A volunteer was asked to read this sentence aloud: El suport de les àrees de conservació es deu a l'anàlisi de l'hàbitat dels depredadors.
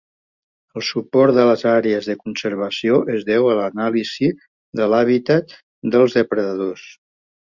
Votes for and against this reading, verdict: 2, 0, accepted